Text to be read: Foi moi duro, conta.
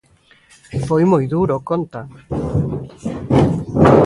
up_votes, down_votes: 2, 0